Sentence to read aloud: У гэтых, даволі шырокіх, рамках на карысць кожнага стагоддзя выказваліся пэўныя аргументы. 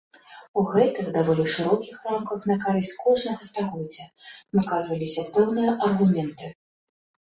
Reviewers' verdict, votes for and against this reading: accepted, 2, 0